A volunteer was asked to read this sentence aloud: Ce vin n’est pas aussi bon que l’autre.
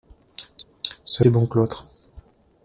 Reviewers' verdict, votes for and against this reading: rejected, 0, 2